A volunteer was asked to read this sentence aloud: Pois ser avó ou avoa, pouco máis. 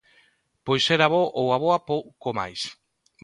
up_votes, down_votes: 0, 2